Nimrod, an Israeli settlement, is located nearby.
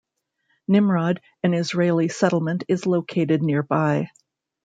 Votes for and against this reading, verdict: 2, 0, accepted